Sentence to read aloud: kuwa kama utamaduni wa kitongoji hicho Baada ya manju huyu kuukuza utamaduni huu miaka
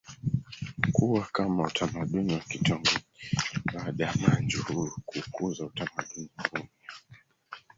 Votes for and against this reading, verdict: 0, 2, rejected